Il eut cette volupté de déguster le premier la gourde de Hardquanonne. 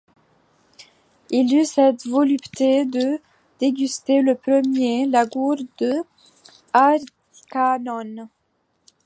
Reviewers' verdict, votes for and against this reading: rejected, 0, 2